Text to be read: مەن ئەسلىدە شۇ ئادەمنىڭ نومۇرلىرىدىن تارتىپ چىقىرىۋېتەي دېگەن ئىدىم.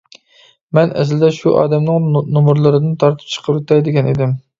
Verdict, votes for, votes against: rejected, 0, 2